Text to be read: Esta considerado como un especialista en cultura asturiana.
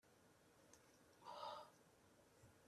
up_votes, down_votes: 0, 2